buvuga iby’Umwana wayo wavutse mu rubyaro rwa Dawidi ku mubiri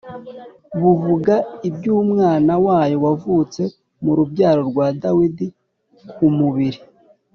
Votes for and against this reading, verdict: 3, 0, accepted